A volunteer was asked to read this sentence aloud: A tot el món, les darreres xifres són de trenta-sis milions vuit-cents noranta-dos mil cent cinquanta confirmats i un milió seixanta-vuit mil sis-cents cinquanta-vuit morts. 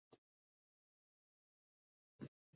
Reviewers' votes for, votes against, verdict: 0, 2, rejected